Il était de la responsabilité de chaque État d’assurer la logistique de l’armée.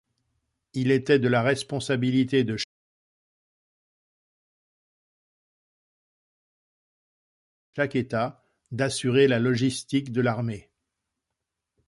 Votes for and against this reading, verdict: 0, 2, rejected